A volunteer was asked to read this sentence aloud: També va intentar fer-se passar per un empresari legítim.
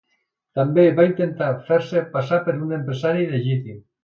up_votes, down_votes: 2, 0